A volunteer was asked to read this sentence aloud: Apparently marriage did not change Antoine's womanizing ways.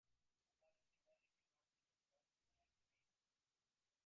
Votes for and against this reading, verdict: 0, 2, rejected